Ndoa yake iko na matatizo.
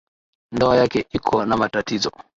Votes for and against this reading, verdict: 2, 0, accepted